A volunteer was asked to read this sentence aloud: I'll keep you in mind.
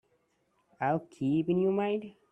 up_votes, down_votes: 1, 2